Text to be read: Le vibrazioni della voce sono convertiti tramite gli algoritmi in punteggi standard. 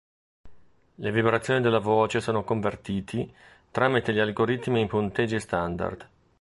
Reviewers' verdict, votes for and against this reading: accepted, 2, 0